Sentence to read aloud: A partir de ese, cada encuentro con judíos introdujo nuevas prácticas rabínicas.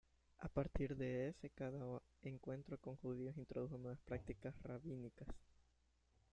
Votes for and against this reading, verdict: 0, 2, rejected